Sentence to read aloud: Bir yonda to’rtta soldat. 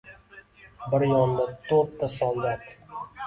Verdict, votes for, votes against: rejected, 0, 2